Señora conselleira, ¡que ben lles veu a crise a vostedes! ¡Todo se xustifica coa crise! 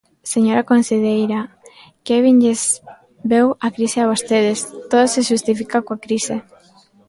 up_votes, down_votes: 0, 2